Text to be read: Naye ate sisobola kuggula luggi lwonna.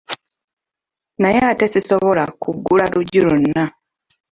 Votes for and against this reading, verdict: 2, 0, accepted